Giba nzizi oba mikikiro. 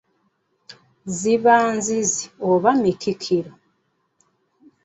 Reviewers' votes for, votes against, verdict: 0, 2, rejected